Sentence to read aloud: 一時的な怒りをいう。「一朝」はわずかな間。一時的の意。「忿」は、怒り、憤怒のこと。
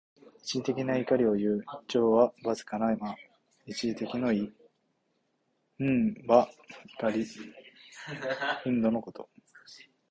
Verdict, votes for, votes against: accepted, 2, 0